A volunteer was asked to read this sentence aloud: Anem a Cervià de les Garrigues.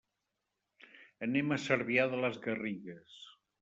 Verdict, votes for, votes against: accepted, 3, 0